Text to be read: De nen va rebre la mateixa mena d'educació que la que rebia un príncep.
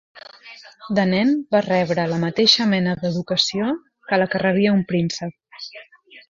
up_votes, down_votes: 0, 2